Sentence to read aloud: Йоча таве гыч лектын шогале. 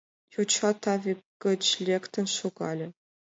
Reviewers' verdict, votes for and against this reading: accepted, 2, 0